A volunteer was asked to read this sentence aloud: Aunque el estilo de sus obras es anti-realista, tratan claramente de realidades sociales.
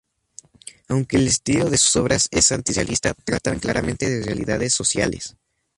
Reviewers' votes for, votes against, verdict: 0, 2, rejected